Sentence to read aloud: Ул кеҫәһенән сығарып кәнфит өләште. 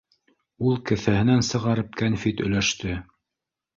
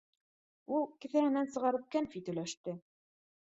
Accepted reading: second